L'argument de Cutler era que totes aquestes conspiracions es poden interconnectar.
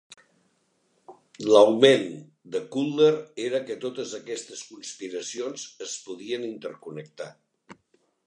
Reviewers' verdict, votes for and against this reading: rejected, 0, 2